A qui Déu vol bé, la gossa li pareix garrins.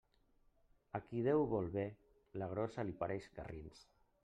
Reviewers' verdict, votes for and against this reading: accepted, 2, 0